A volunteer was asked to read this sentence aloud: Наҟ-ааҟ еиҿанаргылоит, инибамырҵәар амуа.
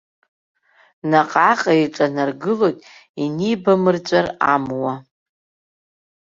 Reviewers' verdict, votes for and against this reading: accepted, 2, 1